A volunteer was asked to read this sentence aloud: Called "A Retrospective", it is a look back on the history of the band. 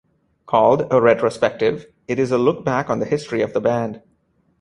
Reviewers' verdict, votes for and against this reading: accepted, 2, 0